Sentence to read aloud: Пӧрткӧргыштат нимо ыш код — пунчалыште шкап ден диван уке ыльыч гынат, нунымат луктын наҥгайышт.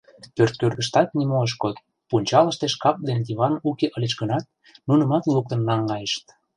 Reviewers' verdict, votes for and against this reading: rejected, 1, 2